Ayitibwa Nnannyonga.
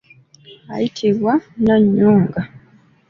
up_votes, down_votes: 2, 0